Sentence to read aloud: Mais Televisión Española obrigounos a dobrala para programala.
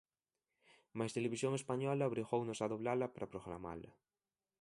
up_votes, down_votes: 1, 2